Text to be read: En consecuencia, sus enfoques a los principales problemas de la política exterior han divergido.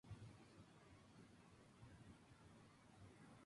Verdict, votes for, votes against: accepted, 2, 0